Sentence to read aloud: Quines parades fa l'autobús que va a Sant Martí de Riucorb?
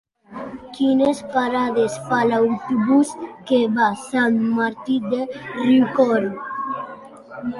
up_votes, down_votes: 2, 1